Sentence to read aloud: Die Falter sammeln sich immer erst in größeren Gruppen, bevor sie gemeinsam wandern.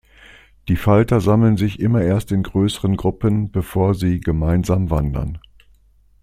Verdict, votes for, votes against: accepted, 2, 0